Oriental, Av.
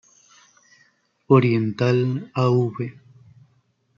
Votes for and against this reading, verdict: 1, 2, rejected